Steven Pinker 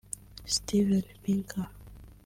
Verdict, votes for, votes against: rejected, 0, 2